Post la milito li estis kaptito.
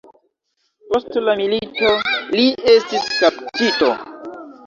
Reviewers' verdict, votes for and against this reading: rejected, 1, 2